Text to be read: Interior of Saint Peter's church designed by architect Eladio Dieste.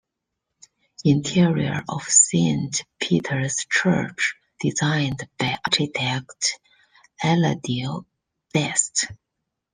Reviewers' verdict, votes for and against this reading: accepted, 2, 1